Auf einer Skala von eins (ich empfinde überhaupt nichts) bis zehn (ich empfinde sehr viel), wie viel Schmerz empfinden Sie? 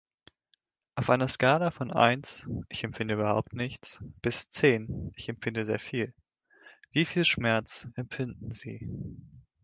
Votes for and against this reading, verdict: 2, 0, accepted